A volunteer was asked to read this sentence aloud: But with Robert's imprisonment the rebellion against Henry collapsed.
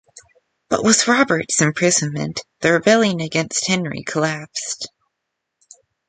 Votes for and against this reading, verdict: 2, 0, accepted